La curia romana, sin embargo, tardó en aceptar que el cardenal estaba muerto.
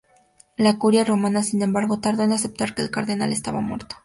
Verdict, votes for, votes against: rejected, 0, 2